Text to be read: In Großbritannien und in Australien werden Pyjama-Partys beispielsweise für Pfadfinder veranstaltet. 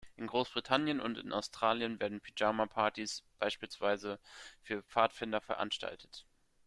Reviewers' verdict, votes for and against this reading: rejected, 0, 2